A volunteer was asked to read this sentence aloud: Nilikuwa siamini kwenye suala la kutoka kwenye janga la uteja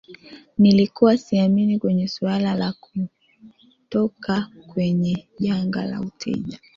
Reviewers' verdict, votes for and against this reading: accepted, 2, 1